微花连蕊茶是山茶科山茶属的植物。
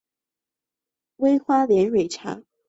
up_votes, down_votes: 0, 3